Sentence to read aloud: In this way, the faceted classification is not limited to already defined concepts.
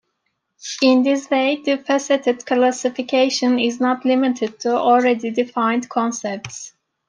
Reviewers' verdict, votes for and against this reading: accepted, 2, 1